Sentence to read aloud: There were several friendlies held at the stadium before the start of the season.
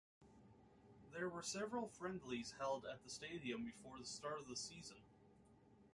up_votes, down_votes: 2, 3